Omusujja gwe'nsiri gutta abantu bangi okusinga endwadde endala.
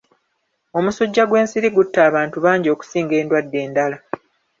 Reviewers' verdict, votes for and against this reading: accepted, 2, 0